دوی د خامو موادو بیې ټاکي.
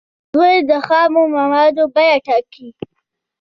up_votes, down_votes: 2, 1